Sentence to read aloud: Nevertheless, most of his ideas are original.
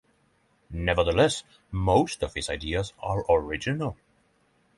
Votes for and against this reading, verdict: 6, 0, accepted